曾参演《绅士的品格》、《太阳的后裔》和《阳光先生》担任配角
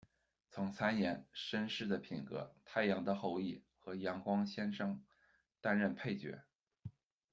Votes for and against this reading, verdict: 2, 0, accepted